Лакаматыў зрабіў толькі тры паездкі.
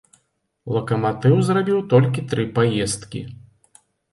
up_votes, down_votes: 2, 0